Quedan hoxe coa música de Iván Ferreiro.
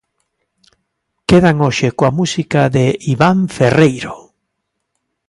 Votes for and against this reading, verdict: 2, 0, accepted